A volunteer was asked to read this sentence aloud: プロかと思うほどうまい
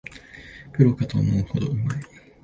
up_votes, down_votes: 2, 2